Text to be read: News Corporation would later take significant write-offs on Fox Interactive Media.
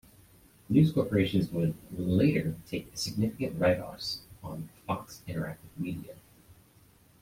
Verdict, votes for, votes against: accepted, 2, 0